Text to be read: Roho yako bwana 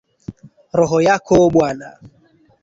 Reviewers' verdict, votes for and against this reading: accepted, 13, 2